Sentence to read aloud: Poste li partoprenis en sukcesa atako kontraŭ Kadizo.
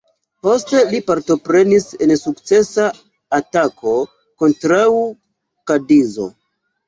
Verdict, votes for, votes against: accepted, 2, 0